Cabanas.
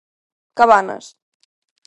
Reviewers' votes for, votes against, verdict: 3, 0, accepted